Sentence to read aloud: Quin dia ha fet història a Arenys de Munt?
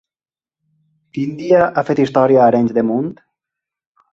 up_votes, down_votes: 2, 0